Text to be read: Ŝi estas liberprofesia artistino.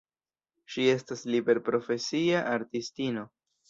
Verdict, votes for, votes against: accepted, 2, 0